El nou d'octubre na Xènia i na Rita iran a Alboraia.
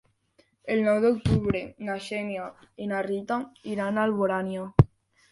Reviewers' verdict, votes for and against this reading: rejected, 0, 2